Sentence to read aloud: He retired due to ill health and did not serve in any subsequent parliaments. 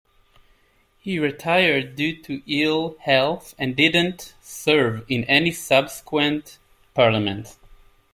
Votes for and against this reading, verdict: 1, 2, rejected